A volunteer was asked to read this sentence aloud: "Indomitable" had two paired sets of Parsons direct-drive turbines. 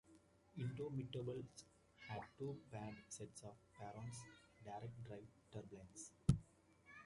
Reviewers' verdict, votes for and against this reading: rejected, 0, 2